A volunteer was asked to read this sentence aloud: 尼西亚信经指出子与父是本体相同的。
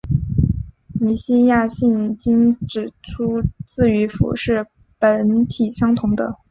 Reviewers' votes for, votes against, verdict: 2, 0, accepted